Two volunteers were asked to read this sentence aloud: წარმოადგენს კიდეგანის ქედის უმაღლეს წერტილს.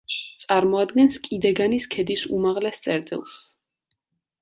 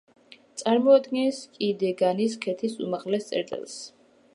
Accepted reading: first